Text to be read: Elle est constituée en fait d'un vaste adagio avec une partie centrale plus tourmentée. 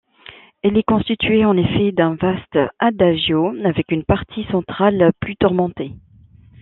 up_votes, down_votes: 0, 2